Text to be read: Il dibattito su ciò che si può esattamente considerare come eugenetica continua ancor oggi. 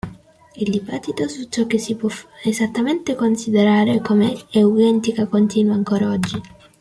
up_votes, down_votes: 0, 2